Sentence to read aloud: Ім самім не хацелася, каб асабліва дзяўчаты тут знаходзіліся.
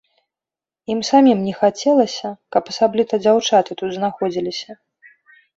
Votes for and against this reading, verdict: 1, 2, rejected